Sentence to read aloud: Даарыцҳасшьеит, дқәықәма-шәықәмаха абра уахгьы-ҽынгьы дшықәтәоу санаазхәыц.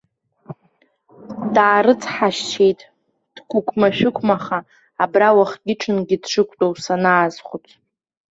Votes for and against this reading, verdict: 1, 2, rejected